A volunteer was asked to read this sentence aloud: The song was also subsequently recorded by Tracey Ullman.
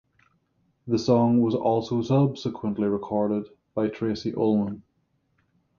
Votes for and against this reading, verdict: 3, 0, accepted